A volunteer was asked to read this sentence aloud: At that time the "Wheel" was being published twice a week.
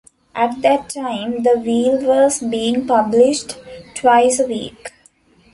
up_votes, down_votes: 2, 0